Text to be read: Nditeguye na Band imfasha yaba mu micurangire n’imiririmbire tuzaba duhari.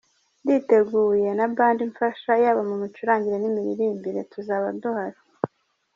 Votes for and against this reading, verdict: 2, 0, accepted